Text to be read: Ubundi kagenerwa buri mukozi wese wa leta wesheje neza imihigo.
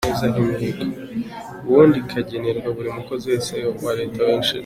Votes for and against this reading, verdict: 1, 2, rejected